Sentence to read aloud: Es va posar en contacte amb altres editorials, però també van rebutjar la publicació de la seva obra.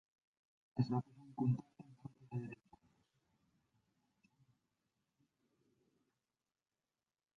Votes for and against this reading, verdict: 0, 2, rejected